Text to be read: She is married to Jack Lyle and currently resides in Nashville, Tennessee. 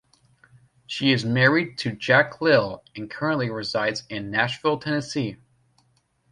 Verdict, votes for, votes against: accepted, 2, 0